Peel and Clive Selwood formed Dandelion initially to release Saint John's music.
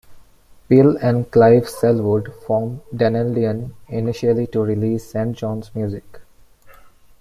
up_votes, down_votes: 1, 2